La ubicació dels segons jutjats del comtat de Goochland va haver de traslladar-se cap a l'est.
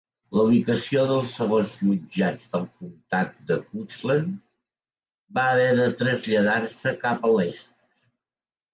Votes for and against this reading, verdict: 2, 1, accepted